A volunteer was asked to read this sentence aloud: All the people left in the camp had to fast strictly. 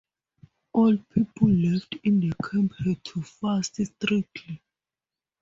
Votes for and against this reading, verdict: 0, 2, rejected